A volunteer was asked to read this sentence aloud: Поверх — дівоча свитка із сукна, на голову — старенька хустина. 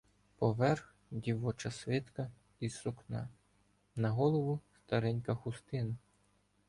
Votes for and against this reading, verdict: 2, 0, accepted